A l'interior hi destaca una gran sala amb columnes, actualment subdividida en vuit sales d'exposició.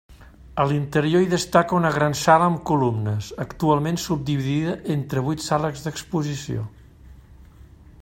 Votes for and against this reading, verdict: 1, 2, rejected